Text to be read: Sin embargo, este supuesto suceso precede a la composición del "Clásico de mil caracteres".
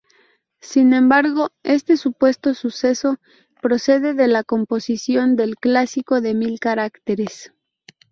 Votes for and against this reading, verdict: 2, 2, rejected